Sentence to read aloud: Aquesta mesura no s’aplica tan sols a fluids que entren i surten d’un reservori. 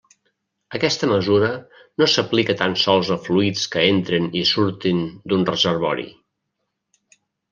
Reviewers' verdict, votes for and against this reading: rejected, 1, 2